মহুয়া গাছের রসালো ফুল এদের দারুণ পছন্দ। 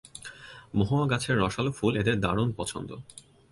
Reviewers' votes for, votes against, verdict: 28, 1, accepted